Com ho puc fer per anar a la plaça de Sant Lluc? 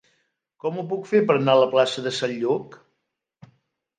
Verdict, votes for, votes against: accepted, 3, 0